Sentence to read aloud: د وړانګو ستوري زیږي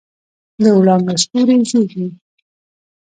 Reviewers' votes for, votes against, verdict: 1, 2, rejected